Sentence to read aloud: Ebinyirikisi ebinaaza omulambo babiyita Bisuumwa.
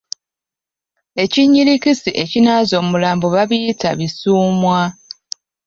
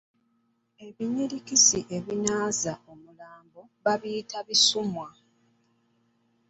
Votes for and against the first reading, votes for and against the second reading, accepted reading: 0, 2, 2, 0, second